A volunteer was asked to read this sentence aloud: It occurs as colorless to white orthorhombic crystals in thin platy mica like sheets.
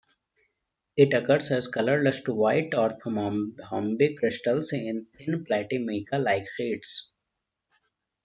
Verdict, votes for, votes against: rejected, 0, 2